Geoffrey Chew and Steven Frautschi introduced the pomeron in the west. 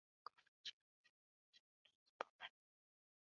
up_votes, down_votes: 0, 2